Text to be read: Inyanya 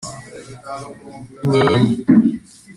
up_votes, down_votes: 0, 2